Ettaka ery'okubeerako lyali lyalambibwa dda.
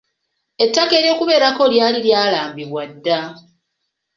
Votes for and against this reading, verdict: 2, 0, accepted